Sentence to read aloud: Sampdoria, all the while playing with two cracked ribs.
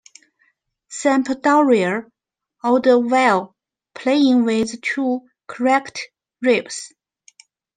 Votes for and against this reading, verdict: 0, 2, rejected